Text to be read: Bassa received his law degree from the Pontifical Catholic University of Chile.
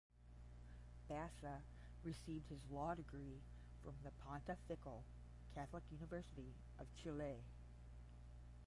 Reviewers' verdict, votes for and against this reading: rejected, 5, 5